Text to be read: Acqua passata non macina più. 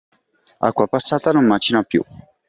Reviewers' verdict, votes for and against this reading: accepted, 2, 0